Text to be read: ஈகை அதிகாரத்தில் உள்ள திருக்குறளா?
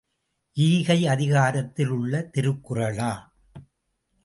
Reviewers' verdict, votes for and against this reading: rejected, 1, 2